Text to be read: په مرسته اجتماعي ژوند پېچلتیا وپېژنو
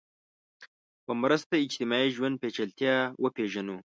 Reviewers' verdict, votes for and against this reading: accepted, 2, 0